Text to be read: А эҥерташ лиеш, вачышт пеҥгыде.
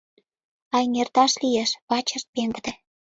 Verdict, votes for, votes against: accepted, 2, 0